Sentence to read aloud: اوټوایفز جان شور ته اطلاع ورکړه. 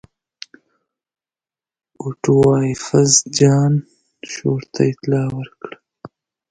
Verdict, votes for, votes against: rejected, 0, 2